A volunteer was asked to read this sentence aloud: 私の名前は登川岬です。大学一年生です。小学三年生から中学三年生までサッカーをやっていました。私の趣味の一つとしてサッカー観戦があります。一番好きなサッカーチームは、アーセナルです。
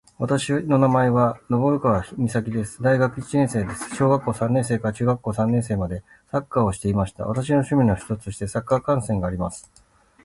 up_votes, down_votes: 0, 2